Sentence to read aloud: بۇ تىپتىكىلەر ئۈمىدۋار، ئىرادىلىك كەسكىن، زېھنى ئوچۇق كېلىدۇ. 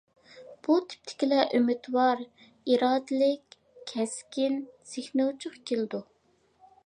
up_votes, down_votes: 0, 2